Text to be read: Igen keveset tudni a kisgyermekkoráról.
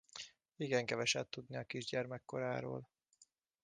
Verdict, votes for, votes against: rejected, 1, 2